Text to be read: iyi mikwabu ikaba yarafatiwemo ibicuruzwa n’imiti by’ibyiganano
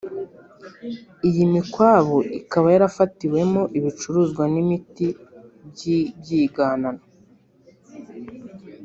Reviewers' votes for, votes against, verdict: 0, 2, rejected